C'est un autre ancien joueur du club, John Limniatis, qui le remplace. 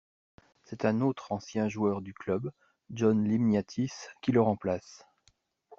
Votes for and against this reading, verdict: 2, 0, accepted